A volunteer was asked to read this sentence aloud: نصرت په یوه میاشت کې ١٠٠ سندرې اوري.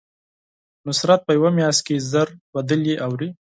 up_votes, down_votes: 0, 2